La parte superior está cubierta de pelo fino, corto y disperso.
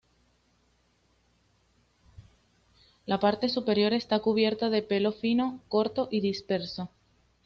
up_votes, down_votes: 2, 0